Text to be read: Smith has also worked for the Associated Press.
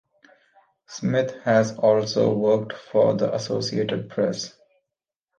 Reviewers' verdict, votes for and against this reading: accepted, 2, 0